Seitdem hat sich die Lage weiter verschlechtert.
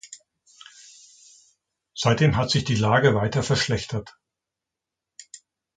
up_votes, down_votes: 2, 0